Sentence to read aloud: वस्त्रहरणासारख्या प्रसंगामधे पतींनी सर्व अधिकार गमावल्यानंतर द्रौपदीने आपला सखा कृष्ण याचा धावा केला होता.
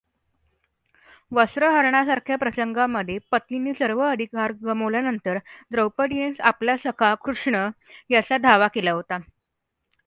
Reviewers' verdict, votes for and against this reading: accepted, 2, 0